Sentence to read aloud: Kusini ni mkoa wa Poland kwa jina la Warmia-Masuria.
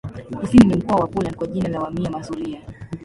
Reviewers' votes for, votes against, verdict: 0, 2, rejected